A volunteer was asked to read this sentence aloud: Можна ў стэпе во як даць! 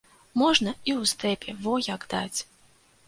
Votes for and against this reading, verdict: 1, 2, rejected